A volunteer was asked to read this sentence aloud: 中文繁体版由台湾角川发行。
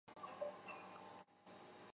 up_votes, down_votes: 1, 4